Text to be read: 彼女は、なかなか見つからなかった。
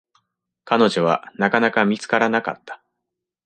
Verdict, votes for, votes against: accepted, 2, 1